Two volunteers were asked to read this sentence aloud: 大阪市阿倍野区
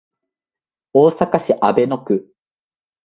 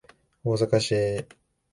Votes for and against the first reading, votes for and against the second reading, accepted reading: 2, 0, 0, 2, first